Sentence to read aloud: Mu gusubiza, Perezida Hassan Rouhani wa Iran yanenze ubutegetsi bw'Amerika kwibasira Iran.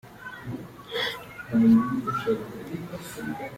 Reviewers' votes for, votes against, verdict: 0, 3, rejected